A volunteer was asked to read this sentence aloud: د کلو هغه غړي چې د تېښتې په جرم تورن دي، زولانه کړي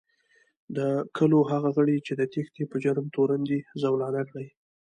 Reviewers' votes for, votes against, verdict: 1, 2, rejected